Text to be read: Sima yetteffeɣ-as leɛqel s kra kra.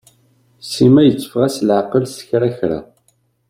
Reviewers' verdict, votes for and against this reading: accepted, 2, 0